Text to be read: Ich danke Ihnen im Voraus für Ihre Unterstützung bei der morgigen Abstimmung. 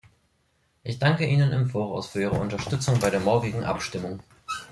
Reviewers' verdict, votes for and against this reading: accepted, 3, 0